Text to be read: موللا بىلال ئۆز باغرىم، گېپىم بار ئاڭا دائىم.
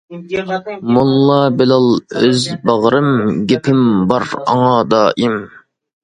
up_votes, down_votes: 2, 1